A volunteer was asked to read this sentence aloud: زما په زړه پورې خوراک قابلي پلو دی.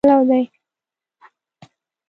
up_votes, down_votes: 0, 2